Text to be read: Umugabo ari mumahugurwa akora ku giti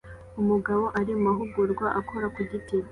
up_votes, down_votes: 2, 1